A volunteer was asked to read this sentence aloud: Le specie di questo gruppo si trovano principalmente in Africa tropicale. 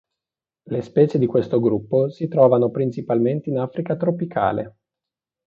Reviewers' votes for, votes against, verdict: 2, 0, accepted